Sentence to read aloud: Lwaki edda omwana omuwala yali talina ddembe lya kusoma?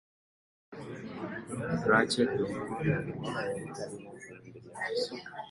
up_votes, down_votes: 0, 2